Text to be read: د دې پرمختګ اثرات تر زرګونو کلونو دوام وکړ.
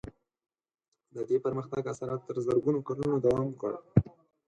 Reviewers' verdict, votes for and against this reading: rejected, 2, 4